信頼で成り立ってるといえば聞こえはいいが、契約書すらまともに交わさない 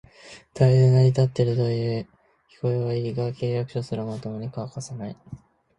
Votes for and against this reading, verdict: 0, 2, rejected